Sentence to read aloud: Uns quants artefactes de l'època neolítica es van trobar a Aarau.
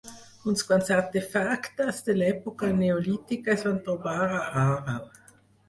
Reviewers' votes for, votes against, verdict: 2, 4, rejected